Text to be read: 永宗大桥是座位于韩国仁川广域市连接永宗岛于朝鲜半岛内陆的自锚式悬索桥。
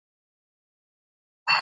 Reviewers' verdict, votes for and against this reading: rejected, 0, 3